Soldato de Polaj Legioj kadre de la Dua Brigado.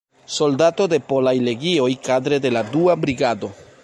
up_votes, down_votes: 2, 1